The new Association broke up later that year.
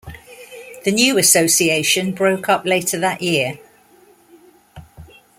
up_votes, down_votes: 2, 0